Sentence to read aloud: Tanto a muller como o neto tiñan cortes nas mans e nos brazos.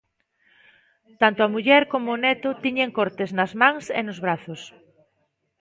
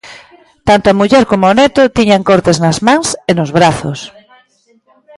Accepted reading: second